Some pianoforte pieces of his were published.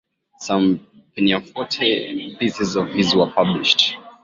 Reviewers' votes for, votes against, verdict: 2, 0, accepted